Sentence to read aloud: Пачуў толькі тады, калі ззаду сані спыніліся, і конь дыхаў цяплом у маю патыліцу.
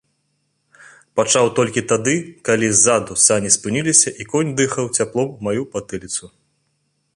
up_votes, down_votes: 0, 2